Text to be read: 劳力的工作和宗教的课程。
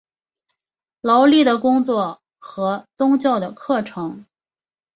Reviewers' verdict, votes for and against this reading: accepted, 2, 0